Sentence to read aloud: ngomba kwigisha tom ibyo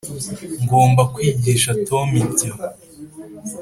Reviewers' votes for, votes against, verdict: 3, 0, accepted